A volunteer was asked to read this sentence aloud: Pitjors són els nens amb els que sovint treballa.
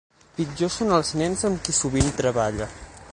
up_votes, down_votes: 0, 6